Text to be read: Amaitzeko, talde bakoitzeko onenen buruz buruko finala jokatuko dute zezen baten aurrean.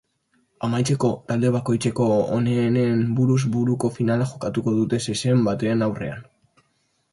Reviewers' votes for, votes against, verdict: 0, 2, rejected